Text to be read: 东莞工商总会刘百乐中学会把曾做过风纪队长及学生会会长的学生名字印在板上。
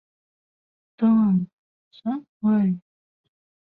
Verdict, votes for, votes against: rejected, 0, 4